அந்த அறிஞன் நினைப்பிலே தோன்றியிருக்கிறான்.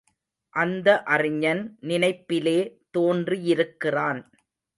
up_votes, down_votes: 2, 0